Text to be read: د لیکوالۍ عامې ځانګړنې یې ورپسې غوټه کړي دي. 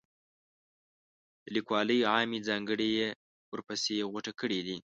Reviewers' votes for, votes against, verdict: 0, 2, rejected